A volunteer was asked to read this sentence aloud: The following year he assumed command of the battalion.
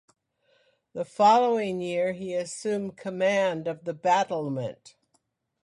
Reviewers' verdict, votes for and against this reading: rejected, 0, 2